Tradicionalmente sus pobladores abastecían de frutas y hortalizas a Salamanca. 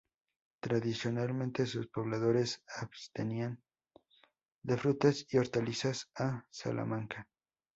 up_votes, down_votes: 2, 2